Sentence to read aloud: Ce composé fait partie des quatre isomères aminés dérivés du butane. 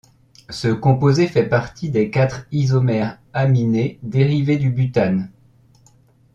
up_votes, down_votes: 2, 0